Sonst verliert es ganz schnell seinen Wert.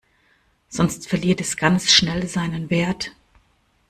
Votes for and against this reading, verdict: 2, 0, accepted